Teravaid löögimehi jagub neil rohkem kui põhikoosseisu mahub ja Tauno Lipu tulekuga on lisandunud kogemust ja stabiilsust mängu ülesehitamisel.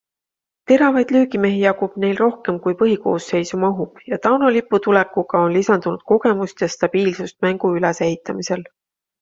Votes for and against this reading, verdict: 2, 0, accepted